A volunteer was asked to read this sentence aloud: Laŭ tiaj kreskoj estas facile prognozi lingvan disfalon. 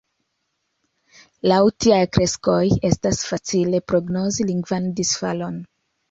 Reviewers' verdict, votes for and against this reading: accepted, 2, 0